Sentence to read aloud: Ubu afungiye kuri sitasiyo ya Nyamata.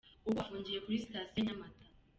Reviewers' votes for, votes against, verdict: 2, 0, accepted